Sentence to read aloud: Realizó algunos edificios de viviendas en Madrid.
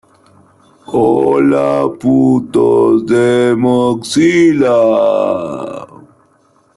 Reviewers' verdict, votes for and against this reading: rejected, 0, 2